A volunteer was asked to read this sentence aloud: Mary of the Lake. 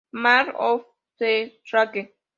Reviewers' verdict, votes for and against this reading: rejected, 0, 2